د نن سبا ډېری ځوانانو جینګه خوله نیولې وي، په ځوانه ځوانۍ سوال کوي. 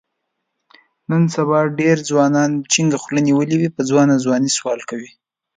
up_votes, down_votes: 1, 2